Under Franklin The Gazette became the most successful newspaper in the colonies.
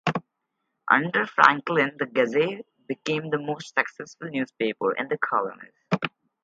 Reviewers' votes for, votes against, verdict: 4, 0, accepted